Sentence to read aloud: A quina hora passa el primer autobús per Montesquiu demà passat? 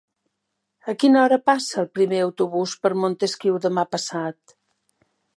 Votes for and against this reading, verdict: 3, 0, accepted